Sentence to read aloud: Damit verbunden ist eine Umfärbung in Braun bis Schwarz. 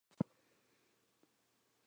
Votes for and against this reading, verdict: 0, 2, rejected